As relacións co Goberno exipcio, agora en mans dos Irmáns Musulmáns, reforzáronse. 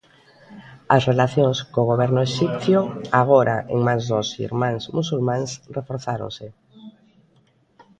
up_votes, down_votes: 1, 2